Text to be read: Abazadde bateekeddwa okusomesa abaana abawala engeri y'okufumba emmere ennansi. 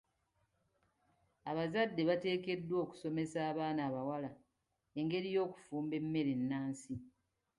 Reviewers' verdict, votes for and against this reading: accepted, 2, 0